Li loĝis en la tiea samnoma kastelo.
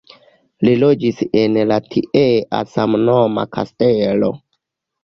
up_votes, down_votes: 0, 2